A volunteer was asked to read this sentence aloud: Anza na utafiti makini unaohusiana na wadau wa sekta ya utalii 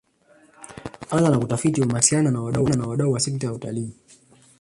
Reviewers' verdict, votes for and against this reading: rejected, 1, 2